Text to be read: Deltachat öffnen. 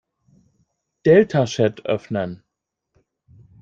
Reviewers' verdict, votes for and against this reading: rejected, 1, 2